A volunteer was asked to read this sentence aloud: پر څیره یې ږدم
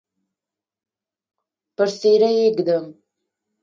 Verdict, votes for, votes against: rejected, 0, 2